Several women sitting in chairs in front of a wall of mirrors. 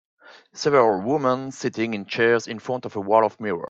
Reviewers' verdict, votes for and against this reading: accepted, 3, 0